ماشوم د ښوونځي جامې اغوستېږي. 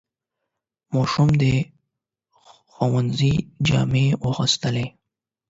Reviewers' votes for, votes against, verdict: 0, 8, rejected